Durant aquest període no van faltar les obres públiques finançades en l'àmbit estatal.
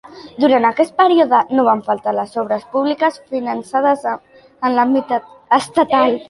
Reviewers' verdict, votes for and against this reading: rejected, 0, 2